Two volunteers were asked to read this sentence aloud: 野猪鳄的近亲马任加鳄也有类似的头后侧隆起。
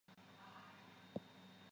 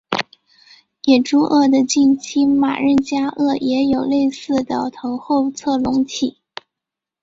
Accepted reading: second